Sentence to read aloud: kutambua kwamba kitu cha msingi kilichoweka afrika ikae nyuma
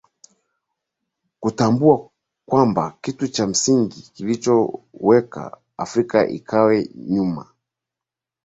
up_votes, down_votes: 2, 1